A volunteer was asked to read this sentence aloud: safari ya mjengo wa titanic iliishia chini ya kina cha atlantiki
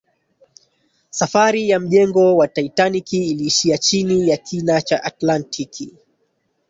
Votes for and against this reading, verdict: 1, 2, rejected